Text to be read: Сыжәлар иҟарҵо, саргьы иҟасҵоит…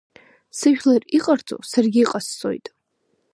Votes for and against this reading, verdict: 2, 0, accepted